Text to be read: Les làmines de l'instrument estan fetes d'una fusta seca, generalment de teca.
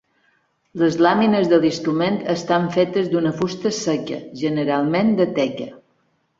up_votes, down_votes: 3, 0